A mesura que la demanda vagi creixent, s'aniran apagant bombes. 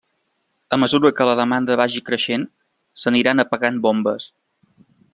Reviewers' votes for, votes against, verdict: 2, 0, accepted